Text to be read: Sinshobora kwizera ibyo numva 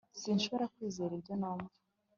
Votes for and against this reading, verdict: 2, 0, accepted